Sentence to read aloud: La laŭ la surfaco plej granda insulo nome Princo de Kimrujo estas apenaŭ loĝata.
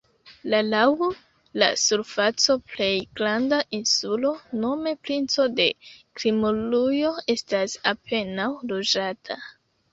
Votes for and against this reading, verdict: 2, 1, accepted